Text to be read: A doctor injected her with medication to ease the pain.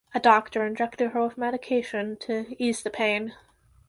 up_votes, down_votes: 2, 0